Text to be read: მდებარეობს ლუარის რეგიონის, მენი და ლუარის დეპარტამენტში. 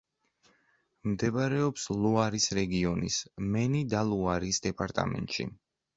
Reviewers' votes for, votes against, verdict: 2, 0, accepted